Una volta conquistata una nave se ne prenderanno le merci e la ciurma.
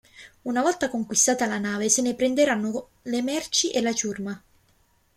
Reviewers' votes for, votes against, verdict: 2, 0, accepted